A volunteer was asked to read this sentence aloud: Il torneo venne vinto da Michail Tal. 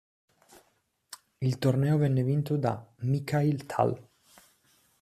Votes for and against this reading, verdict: 2, 0, accepted